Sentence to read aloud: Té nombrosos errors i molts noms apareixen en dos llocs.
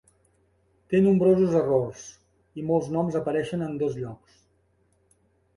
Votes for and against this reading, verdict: 8, 0, accepted